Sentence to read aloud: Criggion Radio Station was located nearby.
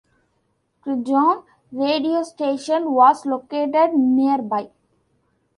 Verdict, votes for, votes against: accepted, 2, 0